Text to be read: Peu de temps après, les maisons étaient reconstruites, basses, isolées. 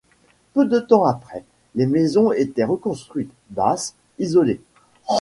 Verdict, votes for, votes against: accepted, 2, 0